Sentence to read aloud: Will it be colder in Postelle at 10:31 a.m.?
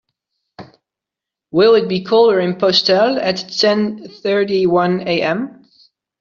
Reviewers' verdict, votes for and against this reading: rejected, 0, 2